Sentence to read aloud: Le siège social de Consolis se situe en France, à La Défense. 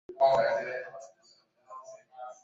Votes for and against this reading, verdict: 0, 2, rejected